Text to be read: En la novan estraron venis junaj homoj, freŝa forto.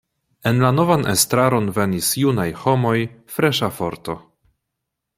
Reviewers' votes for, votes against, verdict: 2, 0, accepted